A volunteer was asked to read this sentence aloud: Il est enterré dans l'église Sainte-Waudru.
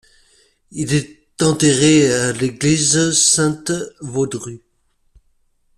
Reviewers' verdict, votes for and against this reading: rejected, 1, 2